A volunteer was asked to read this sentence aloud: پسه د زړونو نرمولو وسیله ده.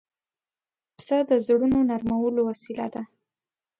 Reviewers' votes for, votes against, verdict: 2, 0, accepted